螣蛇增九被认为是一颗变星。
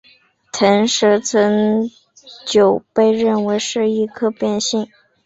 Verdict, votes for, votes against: rejected, 1, 2